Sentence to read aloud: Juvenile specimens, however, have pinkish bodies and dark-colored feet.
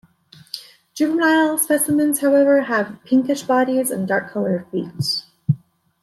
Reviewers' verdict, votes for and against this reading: accepted, 2, 0